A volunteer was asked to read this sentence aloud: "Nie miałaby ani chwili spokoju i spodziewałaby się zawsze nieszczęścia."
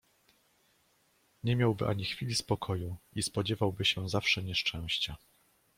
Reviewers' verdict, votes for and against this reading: rejected, 0, 2